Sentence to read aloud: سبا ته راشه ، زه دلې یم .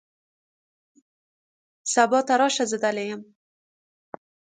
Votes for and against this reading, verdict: 2, 0, accepted